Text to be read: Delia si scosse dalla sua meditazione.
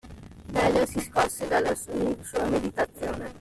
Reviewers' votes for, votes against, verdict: 0, 2, rejected